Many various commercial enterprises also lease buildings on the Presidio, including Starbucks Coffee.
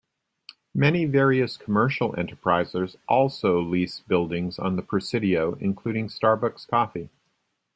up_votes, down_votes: 1, 2